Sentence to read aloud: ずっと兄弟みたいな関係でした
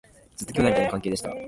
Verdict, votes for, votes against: rejected, 0, 2